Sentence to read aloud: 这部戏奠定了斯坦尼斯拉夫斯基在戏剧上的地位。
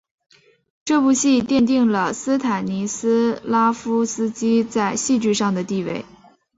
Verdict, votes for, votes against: accepted, 2, 0